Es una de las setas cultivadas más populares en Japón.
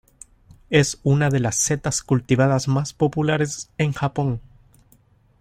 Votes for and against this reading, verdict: 2, 0, accepted